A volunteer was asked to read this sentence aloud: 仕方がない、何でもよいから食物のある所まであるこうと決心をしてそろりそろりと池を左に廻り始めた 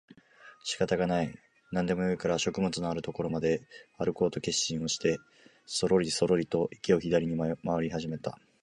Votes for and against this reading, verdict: 2, 0, accepted